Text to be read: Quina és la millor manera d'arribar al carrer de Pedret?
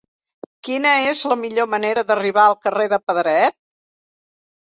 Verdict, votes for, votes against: accepted, 2, 0